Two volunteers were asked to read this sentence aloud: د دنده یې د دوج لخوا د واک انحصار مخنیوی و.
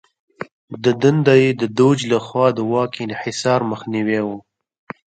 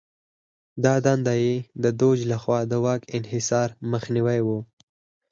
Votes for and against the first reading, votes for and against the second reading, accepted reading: 2, 0, 2, 4, first